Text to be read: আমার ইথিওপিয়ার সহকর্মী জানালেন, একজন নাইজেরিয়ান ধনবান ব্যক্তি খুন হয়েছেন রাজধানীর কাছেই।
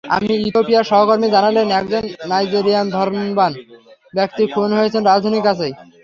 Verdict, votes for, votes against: rejected, 0, 3